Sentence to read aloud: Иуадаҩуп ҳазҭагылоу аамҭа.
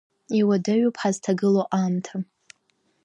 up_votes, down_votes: 2, 0